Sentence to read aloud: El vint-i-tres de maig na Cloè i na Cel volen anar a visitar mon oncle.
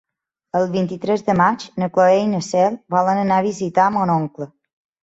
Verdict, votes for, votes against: accepted, 2, 0